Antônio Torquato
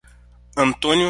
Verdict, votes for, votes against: rejected, 0, 3